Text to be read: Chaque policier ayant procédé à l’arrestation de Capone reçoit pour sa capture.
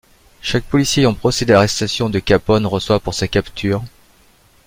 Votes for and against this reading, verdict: 1, 2, rejected